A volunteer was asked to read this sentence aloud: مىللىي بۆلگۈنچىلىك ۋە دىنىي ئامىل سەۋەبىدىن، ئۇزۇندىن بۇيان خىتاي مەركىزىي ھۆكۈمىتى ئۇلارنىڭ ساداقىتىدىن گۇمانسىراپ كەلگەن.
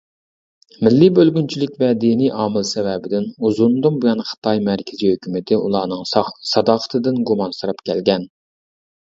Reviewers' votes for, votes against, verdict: 1, 2, rejected